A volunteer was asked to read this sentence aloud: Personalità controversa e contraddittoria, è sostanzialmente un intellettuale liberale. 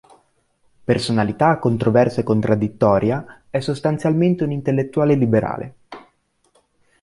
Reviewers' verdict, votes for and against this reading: accepted, 2, 0